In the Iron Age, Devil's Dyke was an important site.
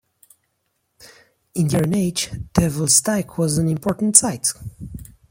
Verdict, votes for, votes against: rejected, 1, 2